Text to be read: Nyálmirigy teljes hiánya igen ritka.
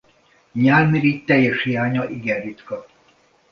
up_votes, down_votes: 2, 0